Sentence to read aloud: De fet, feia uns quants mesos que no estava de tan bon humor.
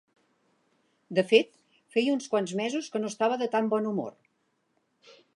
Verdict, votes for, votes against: accepted, 2, 0